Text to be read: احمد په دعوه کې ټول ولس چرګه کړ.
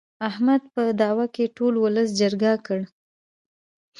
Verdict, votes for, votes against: rejected, 0, 2